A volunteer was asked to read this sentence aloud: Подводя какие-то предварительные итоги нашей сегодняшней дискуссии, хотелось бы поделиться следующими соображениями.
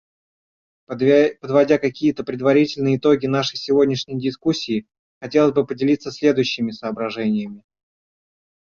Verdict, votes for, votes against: rejected, 0, 2